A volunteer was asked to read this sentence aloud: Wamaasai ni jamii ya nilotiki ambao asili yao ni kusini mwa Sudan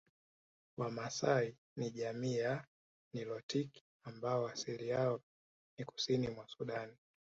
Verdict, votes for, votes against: accepted, 7, 1